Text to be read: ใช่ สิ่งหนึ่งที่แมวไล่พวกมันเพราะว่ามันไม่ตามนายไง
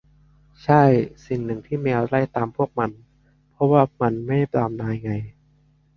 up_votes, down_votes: 0, 4